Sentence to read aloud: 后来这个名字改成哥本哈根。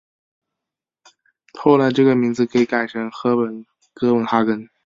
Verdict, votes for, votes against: rejected, 2, 4